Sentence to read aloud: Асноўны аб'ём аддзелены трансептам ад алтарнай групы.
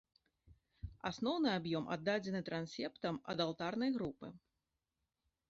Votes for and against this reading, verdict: 0, 2, rejected